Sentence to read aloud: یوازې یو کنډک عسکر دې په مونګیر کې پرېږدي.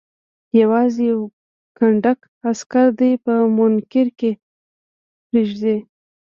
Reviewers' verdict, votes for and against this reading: rejected, 0, 2